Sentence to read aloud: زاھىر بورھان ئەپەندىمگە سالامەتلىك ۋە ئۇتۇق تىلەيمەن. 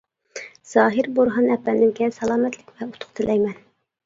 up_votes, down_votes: 2, 0